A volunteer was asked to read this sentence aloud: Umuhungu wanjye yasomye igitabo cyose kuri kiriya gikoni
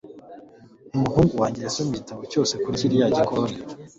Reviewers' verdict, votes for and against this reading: accepted, 2, 0